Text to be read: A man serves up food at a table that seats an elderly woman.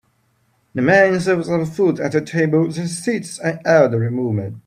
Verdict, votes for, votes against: rejected, 1, 2